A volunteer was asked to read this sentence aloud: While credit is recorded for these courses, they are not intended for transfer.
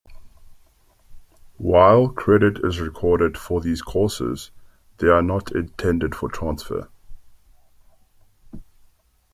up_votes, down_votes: 2, 1